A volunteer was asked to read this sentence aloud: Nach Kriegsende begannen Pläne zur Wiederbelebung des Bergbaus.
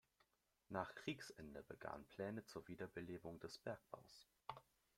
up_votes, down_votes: 2, 0